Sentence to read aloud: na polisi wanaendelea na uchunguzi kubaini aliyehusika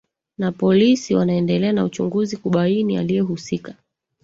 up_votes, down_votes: 1, 2